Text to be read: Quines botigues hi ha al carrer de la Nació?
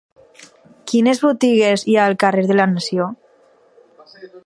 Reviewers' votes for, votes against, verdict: 6, 0, accepted